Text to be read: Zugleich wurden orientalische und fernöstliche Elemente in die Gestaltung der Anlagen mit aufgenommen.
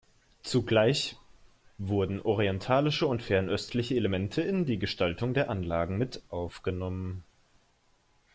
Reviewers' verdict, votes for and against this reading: accepted, 2, 0